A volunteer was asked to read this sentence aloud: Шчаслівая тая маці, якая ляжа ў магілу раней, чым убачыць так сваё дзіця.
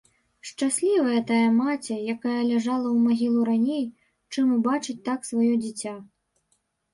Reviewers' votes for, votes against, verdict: 0, 2, rejected